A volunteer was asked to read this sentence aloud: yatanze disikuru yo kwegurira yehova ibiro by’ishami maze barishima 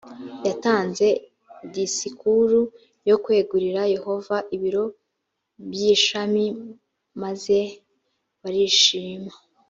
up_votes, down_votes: 2, 0